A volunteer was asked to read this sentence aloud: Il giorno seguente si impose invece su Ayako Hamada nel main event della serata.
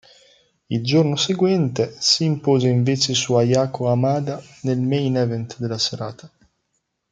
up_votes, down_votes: 2, 0